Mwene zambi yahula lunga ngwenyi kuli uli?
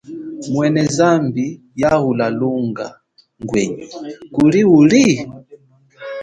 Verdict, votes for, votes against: rejected, 1, 2